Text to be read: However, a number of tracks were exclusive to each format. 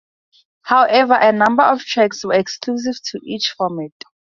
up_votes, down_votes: 2, 0